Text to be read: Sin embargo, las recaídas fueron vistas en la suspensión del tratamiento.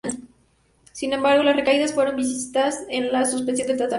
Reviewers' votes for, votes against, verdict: 0, 2, rejected